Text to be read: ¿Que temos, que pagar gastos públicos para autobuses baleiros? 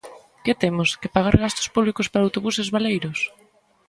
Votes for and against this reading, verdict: 2, 0, accepted